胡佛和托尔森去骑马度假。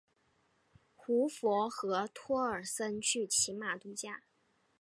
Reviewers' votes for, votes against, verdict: 2, 0, accepted